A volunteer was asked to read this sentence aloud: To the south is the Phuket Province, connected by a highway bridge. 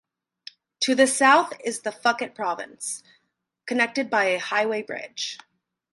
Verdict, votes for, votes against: rejected, 2, 2